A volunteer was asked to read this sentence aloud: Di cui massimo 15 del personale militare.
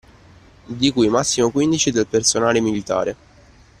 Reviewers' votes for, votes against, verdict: 0, 2, rejected